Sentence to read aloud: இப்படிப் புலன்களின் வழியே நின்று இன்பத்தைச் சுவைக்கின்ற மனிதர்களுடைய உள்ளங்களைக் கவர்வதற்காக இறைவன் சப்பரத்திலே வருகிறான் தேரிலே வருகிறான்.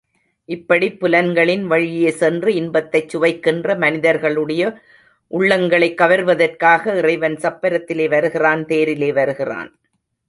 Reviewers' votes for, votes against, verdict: 1, 2, rejected